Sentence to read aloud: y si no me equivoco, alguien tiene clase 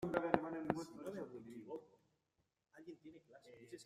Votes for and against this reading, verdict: 0, 2, rejected